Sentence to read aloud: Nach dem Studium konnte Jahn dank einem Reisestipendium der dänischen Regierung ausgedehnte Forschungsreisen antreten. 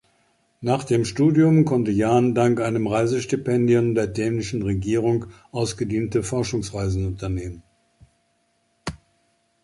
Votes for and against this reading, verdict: 0, 2, rejected